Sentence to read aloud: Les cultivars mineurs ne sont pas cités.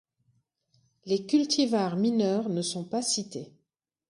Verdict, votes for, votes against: accepted, 2, 0